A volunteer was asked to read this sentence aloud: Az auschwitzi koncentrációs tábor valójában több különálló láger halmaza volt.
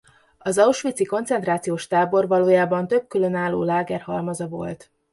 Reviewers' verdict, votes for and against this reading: accepted, 2, 0